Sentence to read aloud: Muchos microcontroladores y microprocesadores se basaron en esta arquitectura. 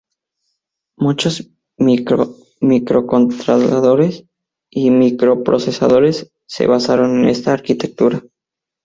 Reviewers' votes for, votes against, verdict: 0, 4, rejected